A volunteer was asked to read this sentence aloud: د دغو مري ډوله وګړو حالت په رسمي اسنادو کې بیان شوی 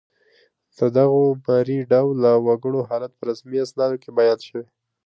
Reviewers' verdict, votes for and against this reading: accepted, 2, 0